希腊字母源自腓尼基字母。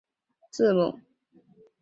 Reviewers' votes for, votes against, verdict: 1, 3, rejected